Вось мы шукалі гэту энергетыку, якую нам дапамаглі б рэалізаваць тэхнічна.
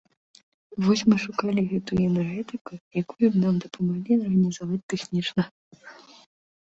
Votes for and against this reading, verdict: 0, 2, rejected